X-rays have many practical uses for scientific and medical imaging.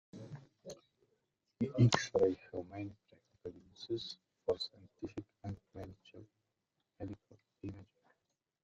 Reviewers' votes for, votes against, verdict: 0, 2, rejected